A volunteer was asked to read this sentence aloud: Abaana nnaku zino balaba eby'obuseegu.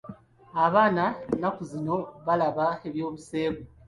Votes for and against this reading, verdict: 2, 1, accepted